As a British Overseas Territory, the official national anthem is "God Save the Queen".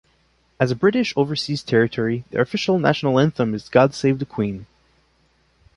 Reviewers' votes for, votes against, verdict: 2, 0, accepted